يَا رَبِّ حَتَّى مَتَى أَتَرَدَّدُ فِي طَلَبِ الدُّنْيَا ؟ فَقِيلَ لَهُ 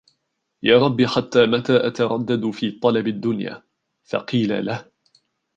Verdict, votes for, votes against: rejected, 1, 2